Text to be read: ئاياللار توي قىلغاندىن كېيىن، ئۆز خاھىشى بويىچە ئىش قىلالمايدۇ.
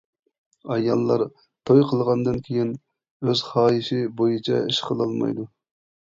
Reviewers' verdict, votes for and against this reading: accepted, 2, 0